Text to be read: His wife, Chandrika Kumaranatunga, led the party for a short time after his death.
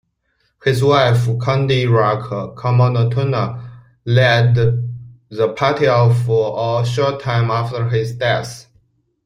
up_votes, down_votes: 0, 2